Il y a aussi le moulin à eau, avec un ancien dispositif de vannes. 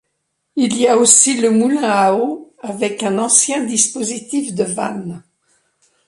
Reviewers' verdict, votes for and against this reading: accepted, 2, 0